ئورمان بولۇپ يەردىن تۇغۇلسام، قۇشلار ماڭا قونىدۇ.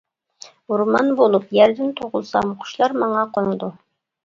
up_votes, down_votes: 2, 0